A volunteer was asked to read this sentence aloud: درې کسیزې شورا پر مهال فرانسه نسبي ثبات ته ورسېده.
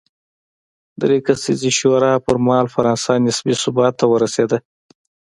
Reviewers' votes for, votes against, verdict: 2, 0, accepted